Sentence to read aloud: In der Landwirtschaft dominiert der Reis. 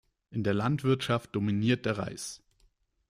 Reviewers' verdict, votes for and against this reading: accepted, 2, 0